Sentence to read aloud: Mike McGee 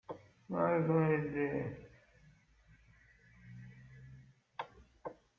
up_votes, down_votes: 1, 2